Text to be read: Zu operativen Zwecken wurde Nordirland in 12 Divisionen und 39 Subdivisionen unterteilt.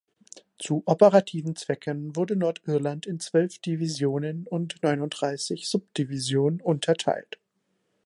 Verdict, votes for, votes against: rejected, 0, 2